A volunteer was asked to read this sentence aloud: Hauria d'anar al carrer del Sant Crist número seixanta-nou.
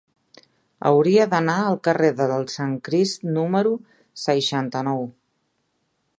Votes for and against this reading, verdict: 0, 2, rejected